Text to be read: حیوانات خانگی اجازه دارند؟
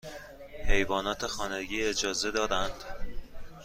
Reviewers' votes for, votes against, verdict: 2, 0, accepted